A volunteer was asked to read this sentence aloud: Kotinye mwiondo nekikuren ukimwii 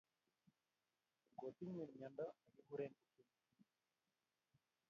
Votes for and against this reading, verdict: 0, 2, rejected